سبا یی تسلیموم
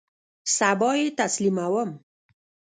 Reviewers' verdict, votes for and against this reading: rejected, 1, 2